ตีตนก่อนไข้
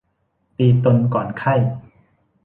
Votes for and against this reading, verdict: 2, 1, accepted